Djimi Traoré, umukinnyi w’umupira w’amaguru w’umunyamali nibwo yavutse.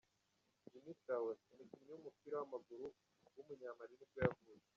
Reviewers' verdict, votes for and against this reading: rejected, 1, 2